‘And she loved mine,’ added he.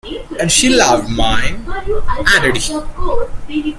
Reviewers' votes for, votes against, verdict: 0, 2, rejected